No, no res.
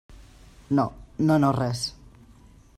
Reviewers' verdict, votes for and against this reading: rejected, 0, 2